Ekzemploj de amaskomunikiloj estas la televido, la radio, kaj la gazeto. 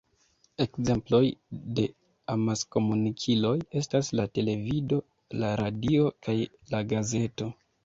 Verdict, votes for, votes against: accepted, 2, 0